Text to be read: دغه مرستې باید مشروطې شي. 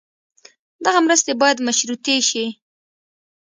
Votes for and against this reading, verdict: 2, 0, accepted